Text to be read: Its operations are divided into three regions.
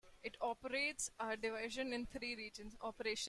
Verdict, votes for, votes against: rejected, 0, 2